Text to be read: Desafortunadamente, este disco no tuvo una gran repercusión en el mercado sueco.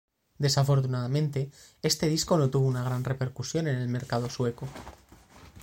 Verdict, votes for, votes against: accepted, 3, 0